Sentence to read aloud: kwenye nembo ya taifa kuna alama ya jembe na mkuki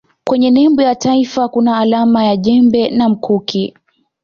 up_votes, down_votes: 2, 0